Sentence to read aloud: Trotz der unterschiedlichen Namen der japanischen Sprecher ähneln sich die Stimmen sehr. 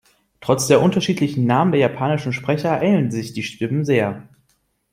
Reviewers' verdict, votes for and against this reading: rejected, 1, 2